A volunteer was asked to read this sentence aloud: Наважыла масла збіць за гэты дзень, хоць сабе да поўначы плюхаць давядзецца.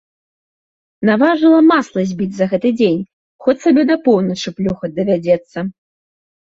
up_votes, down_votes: 2, 0